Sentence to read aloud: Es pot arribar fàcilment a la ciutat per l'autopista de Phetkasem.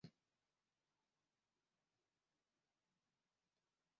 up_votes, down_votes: 1, 2